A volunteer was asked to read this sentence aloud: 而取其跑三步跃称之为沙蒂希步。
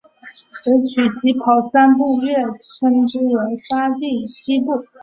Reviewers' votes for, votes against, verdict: 2, 2, rejected